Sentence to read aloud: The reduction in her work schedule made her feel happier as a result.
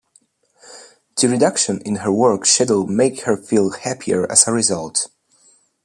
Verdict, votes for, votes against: rejected, 1, 2